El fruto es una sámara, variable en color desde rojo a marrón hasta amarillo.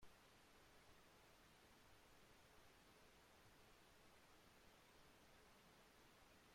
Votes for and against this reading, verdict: 0, 2, rejected